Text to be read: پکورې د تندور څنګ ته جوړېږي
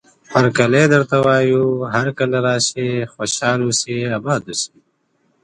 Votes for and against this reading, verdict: 0, 3, rejected